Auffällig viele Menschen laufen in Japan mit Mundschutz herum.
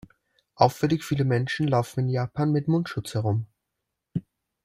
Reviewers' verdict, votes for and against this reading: accepted, 2, 0